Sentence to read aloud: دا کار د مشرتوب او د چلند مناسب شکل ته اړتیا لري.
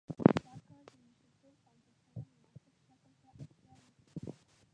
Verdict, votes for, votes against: rejected, 0, 2